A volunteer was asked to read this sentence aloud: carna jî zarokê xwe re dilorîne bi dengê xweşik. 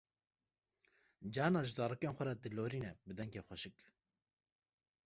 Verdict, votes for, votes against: rejected, 1, 2